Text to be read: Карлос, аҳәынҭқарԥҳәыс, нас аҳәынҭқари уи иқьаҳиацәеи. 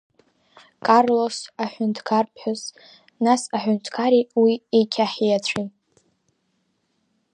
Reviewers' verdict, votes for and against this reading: rejected, 0, 2